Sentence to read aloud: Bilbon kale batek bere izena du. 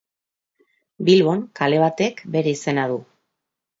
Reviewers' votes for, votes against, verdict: 3, 0, accepted